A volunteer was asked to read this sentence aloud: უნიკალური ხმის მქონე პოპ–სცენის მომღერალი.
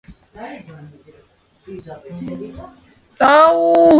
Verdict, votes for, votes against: rejected, 0, 2